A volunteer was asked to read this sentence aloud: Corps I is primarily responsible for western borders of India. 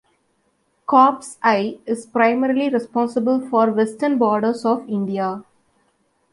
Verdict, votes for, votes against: accepted, 2, 0